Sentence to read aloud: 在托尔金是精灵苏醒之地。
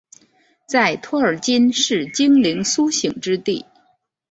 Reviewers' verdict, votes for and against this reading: accepted, 2, 0